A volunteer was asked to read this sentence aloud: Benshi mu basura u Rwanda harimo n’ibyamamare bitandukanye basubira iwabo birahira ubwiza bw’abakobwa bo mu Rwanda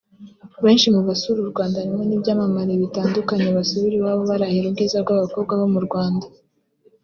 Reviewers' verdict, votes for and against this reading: rejected, 1, 2